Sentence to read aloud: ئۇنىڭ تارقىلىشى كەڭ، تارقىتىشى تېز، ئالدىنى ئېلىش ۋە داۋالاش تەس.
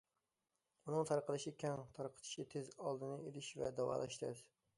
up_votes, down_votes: 2, 0